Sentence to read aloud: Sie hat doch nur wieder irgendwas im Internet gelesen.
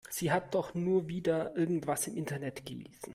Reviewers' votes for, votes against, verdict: 3, 0, accepted